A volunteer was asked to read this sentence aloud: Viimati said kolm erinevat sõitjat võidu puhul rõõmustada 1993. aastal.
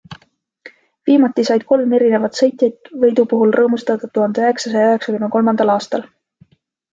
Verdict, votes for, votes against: rejected, 0, 2